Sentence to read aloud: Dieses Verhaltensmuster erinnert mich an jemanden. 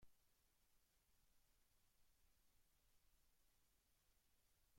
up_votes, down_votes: 0, 2